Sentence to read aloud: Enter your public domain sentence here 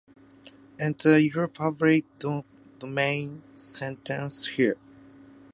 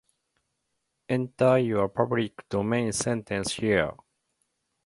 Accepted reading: first